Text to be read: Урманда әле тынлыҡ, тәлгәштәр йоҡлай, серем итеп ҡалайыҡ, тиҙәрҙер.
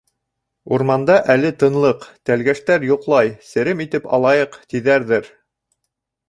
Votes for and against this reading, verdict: 0, 2, rejected